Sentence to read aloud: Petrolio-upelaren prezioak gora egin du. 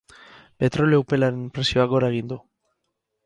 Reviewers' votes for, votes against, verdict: 2, 2, rejected